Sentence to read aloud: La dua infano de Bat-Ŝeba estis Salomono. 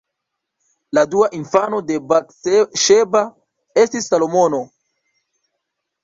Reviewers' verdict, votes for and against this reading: rejected, 1, 2